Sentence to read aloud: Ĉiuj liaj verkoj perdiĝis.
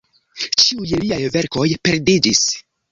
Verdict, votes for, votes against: accepted, 2, 0